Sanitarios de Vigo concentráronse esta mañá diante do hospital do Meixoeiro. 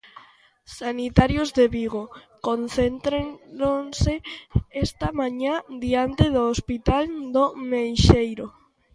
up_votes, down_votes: 0, 2